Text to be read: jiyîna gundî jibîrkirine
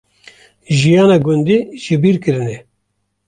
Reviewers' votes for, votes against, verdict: 0, 2, rejected